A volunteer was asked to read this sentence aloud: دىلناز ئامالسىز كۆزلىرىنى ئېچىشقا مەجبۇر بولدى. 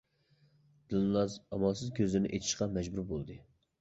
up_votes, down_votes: 2, 0